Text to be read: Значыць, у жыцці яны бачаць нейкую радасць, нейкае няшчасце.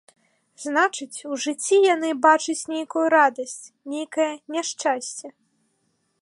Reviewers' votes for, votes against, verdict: 2, 0, accepted